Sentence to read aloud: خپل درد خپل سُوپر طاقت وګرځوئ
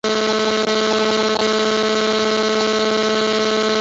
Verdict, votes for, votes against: rejected, 0, 2